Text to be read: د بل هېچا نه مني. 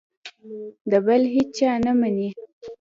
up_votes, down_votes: 2, 0